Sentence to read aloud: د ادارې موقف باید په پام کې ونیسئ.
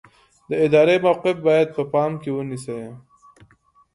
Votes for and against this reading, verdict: 2, 0, accepted